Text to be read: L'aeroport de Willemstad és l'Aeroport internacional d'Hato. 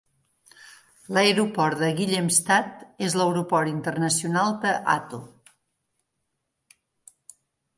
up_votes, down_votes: 1, 2